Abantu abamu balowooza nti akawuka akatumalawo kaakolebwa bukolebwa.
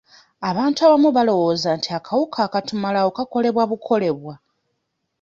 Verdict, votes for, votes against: rejected, 0, 2